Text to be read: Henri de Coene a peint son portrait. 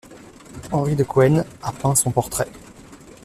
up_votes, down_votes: 1, 2